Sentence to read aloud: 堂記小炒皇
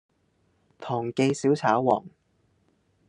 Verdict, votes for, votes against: accepted, 2, 0